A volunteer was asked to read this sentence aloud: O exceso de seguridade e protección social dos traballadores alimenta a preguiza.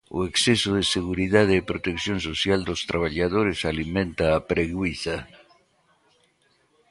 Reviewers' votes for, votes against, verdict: 2, 1, accepted